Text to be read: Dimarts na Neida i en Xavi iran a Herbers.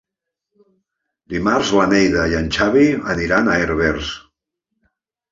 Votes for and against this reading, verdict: 0, 2, rejected